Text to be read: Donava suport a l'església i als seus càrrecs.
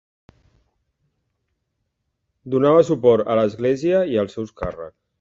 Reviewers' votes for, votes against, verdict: 2, 0, accepted